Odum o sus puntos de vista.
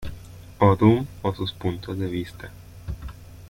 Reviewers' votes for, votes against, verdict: 2, 0, accepted